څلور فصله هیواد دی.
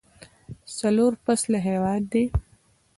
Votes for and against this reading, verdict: 1, 2, rejected